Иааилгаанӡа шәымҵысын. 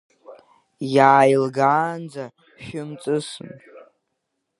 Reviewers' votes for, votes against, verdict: 1, 2, rejected